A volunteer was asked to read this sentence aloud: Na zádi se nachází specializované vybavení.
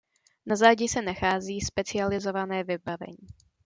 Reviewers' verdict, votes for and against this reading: accepted, 2, 0